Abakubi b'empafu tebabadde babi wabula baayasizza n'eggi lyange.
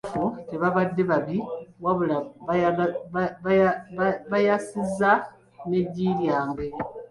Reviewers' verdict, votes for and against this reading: rejected, 0, 2